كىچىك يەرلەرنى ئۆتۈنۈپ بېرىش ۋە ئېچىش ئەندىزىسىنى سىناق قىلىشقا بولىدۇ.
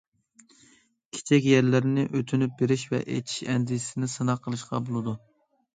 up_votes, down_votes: 2, 0